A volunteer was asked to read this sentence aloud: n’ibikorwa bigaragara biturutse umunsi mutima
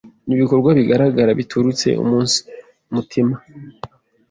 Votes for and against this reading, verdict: 2, 1, accepted